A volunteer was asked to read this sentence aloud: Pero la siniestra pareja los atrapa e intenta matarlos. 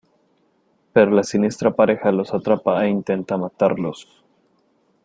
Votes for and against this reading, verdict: 3, 0, accepted